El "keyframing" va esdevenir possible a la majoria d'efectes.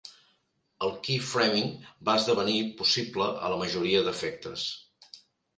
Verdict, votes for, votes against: accepted, 3, 0